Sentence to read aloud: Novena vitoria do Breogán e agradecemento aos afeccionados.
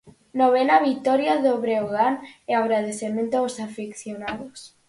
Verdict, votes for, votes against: accepted, 4, 0